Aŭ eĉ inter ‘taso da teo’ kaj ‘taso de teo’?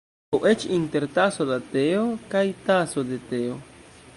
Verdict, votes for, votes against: rejected, 0, 2